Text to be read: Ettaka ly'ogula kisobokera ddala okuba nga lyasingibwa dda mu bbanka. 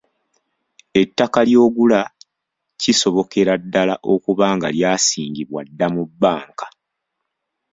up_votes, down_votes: 2, 0